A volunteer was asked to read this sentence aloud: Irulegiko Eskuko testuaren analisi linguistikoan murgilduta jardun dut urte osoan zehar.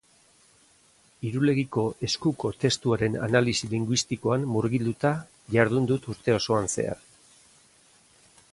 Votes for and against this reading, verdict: 2, 0, accepted